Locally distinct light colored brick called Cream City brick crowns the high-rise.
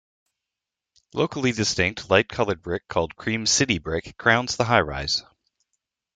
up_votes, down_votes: 2, 0